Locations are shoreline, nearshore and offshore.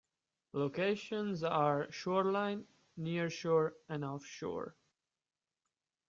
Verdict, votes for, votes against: accepted, 2, 0